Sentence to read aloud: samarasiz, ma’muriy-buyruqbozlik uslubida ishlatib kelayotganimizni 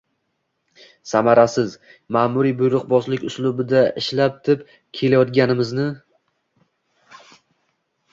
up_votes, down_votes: 0, 2